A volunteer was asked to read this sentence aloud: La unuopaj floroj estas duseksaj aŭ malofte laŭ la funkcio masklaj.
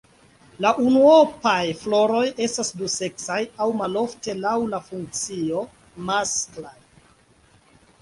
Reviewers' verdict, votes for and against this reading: accepted, 2, 0